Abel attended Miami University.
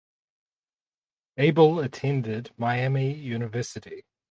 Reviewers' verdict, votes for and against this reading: accepted, 4, 0